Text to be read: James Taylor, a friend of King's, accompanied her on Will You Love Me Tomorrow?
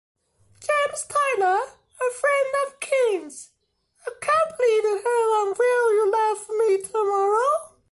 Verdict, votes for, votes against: accepted, 2, 1